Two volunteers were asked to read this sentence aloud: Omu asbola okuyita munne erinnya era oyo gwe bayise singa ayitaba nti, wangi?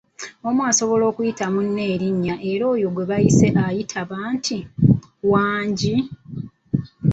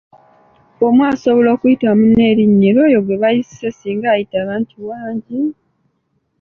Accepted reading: second